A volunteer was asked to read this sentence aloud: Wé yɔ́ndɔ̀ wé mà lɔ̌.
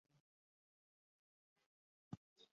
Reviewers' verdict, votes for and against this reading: rejected, 1, 2